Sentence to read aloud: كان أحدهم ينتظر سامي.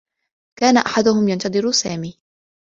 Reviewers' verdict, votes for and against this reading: accepted, 2, 0